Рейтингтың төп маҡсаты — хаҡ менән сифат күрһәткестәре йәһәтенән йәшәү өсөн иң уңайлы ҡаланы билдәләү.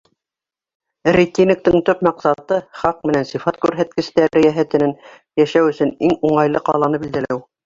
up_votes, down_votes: 0, 2